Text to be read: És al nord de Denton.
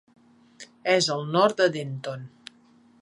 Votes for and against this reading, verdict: 2, 0, accepted